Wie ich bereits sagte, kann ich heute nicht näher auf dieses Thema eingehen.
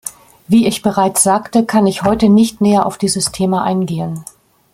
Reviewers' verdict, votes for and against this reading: accepted, 2, 0